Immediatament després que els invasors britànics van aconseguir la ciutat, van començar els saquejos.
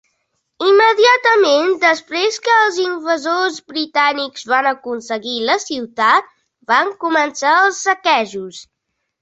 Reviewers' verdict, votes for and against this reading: accepted, 3, 0